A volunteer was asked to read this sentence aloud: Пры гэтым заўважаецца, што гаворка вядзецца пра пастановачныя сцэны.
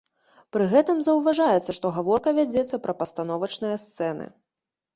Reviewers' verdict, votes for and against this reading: accepted, 2, 0